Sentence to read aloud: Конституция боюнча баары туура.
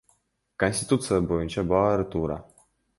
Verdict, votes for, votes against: accepted, 2, 1